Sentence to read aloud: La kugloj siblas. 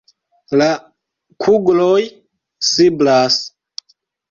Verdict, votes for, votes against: rejected, 1, 2